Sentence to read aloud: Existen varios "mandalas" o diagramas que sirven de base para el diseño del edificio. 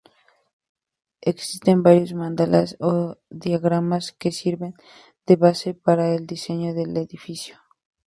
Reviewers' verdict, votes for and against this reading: accepted, 2, 0